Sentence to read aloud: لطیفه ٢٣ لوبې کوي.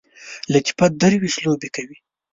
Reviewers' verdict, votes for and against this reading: rejected, 0, 2